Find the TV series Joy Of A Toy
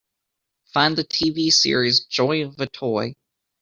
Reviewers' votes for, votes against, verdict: 2, 1, accepted